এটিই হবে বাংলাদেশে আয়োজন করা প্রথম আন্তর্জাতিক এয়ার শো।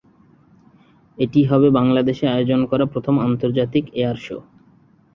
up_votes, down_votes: 2, 0